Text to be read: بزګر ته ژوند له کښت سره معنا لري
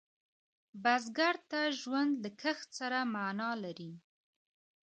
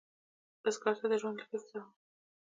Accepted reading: first